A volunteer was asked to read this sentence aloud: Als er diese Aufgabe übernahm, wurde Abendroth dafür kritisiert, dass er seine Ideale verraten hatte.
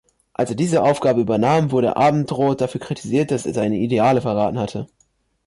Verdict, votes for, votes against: accepted, 2, 0